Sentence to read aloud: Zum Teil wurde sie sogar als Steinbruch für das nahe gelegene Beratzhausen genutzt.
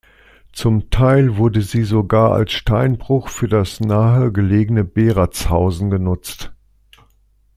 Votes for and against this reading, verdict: 2, 0, accepted